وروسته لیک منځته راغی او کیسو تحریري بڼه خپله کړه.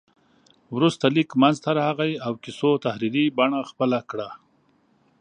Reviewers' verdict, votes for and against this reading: accepted, 2, 0